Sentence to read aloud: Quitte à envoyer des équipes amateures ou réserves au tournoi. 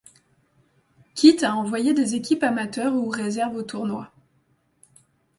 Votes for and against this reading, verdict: 2, 0, accepted